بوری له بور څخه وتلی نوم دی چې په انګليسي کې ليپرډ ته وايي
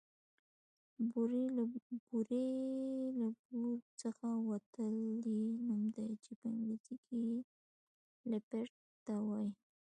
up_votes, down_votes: 1, 2